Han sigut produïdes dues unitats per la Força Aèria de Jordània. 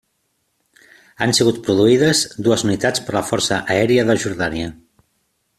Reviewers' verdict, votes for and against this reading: accepted, 3, 0